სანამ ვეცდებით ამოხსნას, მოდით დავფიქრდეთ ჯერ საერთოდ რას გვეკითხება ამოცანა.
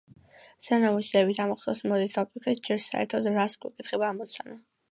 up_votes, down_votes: 2, 0